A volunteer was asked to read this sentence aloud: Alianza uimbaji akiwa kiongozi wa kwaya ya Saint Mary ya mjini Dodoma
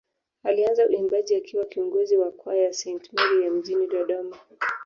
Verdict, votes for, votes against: accepted, 2, 0